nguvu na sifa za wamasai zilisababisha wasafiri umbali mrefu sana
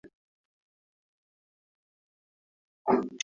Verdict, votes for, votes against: rejected, 0, 2